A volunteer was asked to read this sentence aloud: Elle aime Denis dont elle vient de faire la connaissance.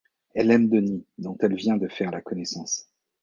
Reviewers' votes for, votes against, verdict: 2, 0, accepted